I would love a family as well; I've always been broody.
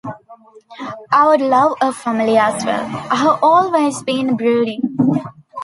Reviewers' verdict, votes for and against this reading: accepted, 2, 0